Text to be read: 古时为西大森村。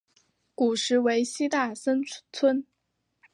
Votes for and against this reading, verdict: 1, 4, rejected